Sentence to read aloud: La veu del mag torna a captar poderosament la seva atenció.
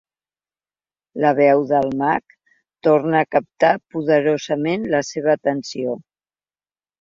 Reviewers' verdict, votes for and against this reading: accepted, 2, 0